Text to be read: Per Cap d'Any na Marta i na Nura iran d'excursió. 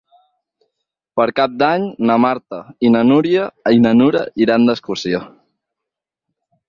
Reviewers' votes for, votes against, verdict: 0, 6, rejected